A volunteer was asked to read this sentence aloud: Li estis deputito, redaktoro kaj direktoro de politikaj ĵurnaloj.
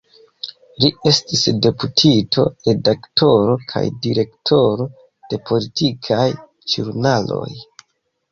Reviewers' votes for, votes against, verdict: 2, 0, accepted